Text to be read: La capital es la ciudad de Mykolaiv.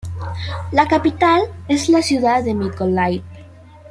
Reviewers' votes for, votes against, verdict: 2, 0, accepted